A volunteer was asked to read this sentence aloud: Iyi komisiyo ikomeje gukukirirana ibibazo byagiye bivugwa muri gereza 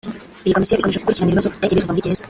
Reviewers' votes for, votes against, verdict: 0, 2, rejected